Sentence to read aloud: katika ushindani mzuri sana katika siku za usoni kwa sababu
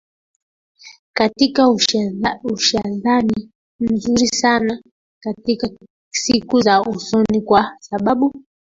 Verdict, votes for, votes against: rejected, 0, 2